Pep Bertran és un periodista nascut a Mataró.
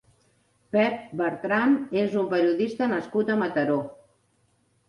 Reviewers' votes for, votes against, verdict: 2, 0, accepted